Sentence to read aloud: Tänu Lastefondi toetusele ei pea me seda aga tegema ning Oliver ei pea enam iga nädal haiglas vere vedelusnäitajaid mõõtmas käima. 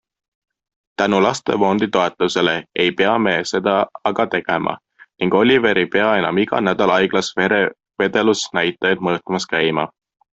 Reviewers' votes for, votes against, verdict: 2, 0, accepted